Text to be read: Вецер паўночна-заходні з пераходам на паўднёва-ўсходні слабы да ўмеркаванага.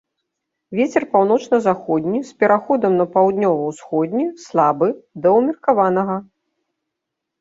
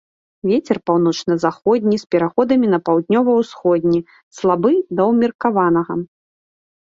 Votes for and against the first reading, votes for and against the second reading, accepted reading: 2, 0, 1, 2, first